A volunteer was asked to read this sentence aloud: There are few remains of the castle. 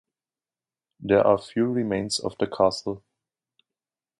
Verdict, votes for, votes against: accepted, 2, 0